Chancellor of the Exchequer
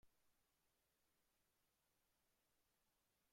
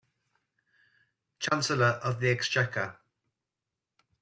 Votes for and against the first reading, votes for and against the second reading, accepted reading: 0, 2, 2, 0, second